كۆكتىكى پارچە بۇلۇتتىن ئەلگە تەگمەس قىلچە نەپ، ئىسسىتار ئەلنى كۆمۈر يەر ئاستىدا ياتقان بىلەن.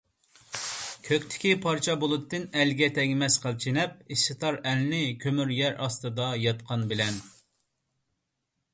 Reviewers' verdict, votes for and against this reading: accepted, 2, 0